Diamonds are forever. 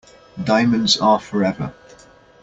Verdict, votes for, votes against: accepted, 2, 0